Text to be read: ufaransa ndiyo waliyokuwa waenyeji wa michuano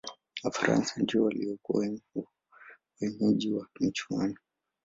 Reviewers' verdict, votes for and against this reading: accepted, 2, 1